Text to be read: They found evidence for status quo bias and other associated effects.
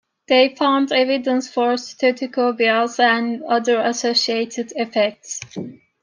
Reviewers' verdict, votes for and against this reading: rejected, 0, 2